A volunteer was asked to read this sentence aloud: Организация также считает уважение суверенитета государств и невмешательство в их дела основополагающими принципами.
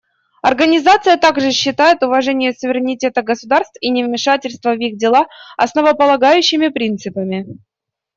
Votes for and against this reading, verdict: 2, 0, accepted